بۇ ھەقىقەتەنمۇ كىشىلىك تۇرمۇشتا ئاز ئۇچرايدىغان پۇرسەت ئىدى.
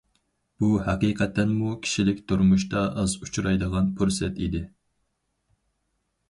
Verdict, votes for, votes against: accepted, 4, 0